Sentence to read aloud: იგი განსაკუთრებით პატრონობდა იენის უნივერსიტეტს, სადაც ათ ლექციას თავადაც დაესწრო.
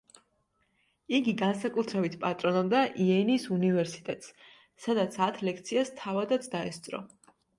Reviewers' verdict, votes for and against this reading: accepted, 2, 0